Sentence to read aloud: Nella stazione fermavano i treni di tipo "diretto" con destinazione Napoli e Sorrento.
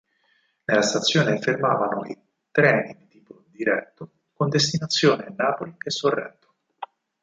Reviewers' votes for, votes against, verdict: 2, 4, rejected